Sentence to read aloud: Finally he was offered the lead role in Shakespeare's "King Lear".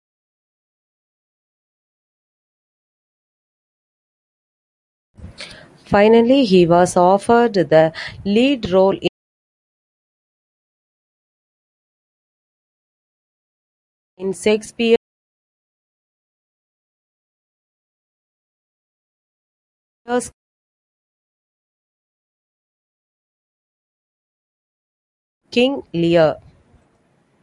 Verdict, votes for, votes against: rejected, 0, 2